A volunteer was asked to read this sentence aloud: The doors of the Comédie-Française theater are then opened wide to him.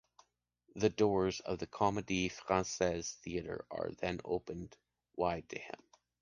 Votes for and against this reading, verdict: 2, 1, accepted